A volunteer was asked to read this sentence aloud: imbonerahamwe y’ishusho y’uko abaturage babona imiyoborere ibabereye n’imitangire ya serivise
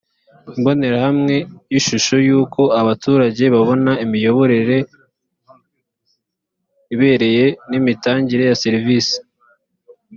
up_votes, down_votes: 1, 2